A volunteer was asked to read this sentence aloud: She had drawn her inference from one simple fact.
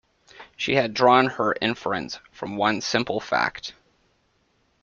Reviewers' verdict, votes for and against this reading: accepted, 2, 0